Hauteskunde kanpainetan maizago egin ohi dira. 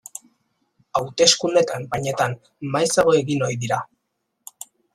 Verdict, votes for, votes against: accepted, 2, 0